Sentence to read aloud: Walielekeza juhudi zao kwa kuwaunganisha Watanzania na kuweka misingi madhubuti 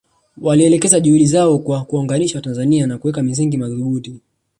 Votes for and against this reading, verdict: 0, 2, rejected